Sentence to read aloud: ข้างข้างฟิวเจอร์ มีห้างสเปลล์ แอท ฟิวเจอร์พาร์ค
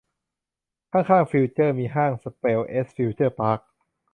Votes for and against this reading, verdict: 1, 2, rejected